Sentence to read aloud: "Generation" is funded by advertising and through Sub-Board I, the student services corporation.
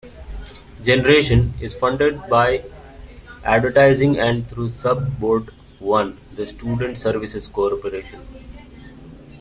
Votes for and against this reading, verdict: 2, 0, accepted